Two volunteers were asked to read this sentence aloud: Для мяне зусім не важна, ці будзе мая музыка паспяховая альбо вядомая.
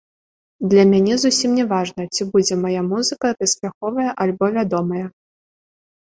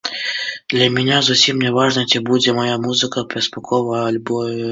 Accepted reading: first